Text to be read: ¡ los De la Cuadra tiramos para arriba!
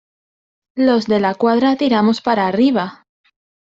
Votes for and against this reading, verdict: 2, 0, accepted